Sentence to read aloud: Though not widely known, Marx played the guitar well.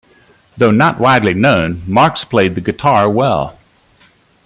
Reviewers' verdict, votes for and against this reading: accepted, 2, 0